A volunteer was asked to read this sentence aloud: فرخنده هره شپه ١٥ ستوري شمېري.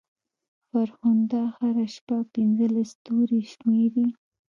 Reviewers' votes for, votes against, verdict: 0, 2, rejected